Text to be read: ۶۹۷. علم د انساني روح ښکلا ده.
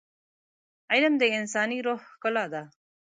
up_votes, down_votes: 0, 2